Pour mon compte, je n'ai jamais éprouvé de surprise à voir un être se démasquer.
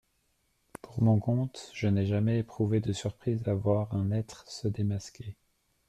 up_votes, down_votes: 2, 0